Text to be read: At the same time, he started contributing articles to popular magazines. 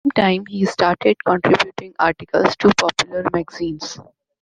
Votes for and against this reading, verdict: 0, 2, rejected